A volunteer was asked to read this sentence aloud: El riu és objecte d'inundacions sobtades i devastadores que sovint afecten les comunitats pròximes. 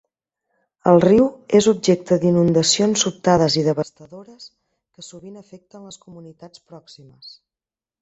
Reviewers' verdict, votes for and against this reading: rejected, 1, 2